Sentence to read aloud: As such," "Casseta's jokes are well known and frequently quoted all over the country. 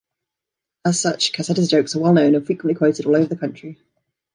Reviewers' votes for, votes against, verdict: 2, 3, rejected